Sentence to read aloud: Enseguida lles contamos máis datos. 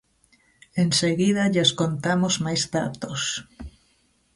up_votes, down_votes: 2, 0